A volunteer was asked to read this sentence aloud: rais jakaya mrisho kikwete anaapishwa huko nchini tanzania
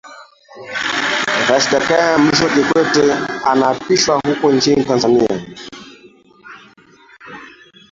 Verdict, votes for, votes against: rejected, 0, 2